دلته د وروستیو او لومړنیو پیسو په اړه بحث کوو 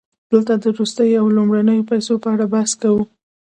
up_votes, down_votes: 0, 2